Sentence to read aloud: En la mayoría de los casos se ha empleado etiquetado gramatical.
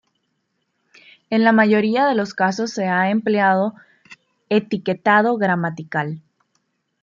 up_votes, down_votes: 2, 0